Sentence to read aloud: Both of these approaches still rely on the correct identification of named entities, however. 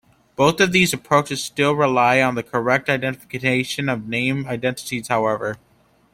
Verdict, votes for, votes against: rejected, 1, 2